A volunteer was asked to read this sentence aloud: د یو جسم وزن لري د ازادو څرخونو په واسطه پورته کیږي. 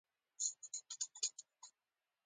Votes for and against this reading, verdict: 2, 1, accepted